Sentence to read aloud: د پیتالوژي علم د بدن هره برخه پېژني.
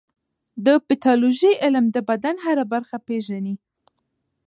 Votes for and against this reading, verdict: 1, 2, rejected